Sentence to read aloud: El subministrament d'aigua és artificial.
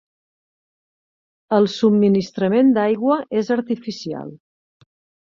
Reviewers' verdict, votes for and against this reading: accepted, 3, 0